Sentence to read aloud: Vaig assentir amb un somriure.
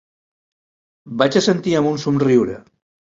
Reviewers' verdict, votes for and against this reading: accepted, 2, 0